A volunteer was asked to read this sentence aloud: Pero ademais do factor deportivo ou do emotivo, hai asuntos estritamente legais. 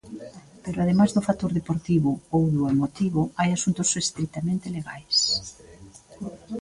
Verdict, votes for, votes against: accepted, 2, 1